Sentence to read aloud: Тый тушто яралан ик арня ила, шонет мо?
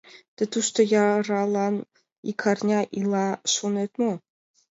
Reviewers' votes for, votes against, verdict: 2, 0, accepted